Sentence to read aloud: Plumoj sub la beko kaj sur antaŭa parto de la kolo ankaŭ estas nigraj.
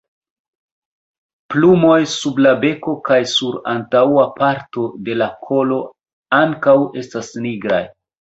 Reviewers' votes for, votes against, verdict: 2, 1, accepted